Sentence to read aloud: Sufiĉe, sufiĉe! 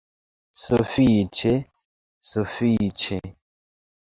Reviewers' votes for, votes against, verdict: 3, 0, accepted